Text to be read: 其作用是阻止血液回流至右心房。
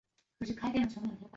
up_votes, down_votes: 0, 4